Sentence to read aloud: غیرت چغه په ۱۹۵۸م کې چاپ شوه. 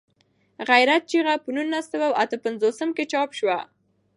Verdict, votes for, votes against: rejected, 0, 2